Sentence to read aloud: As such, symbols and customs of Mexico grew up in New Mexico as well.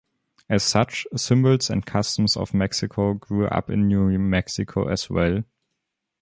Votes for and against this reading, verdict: 2, 0, accepted